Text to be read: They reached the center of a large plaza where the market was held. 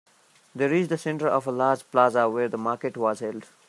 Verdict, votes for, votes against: accepted, 2, 1